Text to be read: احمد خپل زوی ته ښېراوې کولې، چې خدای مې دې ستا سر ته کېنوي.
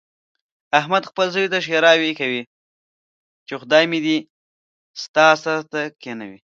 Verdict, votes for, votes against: rejected, 0, 2